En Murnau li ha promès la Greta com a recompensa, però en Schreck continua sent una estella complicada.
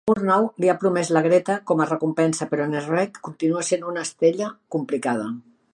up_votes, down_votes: 0, 2